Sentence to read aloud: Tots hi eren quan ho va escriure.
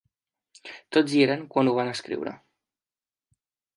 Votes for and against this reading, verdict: 1, 2, rejected